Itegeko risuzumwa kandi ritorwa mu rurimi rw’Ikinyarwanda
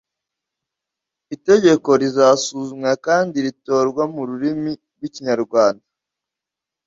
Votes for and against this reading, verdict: 1, 2, rejected